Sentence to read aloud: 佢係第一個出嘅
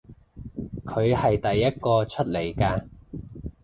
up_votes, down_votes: 0, 2